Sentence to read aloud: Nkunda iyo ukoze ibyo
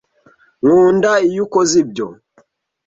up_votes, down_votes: 2, 0